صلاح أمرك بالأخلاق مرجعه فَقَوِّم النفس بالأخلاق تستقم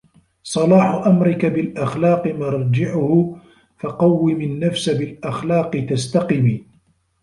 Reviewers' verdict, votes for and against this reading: accepted, 2, 1